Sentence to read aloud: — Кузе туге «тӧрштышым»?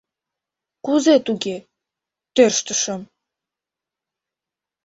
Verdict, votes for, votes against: accepted, 2, 0